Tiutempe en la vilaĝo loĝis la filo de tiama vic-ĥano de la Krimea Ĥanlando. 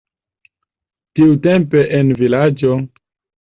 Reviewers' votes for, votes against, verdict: 0, 2, rejected